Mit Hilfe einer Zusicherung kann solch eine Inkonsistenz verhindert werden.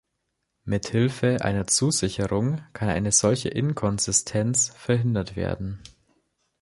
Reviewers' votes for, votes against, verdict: 0, 3, rejected